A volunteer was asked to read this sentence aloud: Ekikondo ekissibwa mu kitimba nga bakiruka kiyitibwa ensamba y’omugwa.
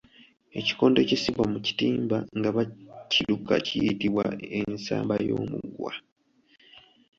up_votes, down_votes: 3, 1